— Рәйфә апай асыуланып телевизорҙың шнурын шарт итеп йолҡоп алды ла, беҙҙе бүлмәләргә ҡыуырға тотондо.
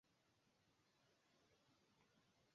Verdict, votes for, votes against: rejected, 0, 2